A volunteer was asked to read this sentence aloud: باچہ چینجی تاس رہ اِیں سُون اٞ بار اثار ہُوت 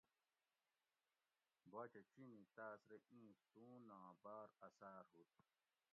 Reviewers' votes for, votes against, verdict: 0, 2, rejected